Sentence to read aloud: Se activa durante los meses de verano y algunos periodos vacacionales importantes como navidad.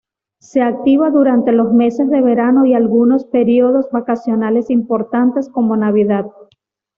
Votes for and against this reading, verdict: 2, 0, accepted